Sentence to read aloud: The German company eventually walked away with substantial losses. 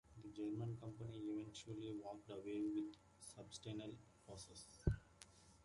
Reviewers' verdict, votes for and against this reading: rejected, 0, 2